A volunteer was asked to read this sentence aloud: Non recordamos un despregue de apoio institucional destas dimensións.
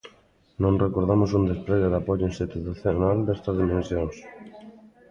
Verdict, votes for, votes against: rejected, 0, 2